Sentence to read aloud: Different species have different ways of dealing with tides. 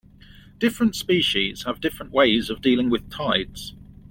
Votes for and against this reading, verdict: 2, 0, accepted